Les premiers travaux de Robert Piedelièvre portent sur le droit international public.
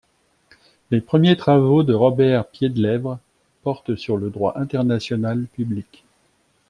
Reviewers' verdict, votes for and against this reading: rejected, 1, 3